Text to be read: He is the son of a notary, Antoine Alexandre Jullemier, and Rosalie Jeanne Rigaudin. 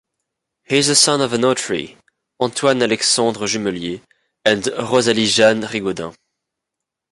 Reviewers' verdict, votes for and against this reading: accepted, 2, 0